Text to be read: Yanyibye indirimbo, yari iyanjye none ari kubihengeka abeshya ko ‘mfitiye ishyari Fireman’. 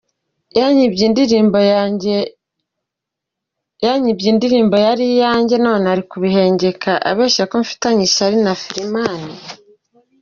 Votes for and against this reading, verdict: 1, 2, rejected